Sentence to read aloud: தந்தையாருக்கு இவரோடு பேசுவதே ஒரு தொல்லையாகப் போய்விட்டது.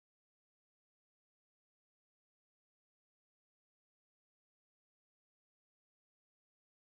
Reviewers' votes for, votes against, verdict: 1, 2, rejected